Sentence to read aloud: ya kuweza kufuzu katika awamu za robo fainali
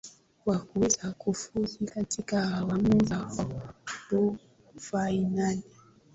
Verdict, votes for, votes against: accepted, 2, 1